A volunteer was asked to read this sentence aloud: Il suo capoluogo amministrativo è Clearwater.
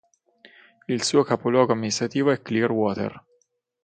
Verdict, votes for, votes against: rejected, 3, 3